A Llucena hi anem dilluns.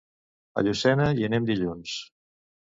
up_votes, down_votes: 2, 0